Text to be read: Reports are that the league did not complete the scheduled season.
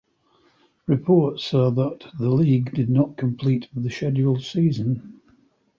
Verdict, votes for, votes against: rejected, 1, 2